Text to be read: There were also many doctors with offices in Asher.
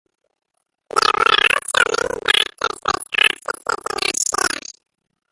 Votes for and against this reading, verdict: 0, 2, rejected